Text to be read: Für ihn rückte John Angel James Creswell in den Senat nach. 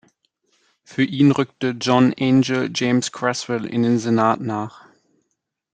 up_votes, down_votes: 2, 0